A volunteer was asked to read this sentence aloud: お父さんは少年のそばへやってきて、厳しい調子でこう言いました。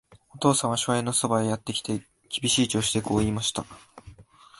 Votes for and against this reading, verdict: 3, 0, accepted